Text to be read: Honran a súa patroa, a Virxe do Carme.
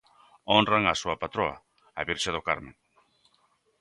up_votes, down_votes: 2, 0